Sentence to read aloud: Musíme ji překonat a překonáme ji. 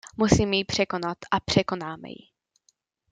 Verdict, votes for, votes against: accepted, 2, 0